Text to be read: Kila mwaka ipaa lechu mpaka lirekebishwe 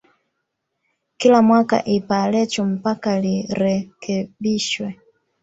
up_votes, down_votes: 1, 2